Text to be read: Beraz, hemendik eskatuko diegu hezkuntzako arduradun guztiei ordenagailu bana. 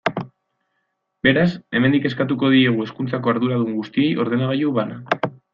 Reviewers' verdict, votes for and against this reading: accepted, 2, 0